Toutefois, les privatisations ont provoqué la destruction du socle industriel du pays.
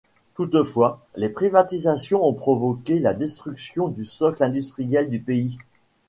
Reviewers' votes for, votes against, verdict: 2, 0, accepted